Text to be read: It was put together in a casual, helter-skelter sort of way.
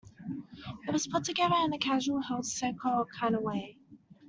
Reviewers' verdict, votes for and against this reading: rejected, 0, 2